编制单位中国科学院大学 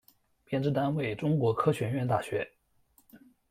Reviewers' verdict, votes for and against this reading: accepted, 2, 0